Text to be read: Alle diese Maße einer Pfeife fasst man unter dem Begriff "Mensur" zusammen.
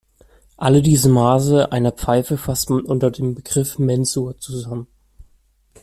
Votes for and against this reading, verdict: 0, 2, rejected